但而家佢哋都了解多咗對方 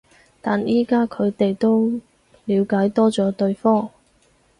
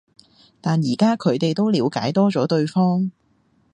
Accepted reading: second